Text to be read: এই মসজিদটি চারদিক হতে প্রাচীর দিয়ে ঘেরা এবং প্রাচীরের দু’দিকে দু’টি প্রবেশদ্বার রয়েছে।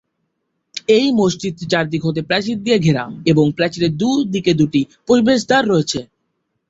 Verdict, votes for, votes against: rejected, 0, 2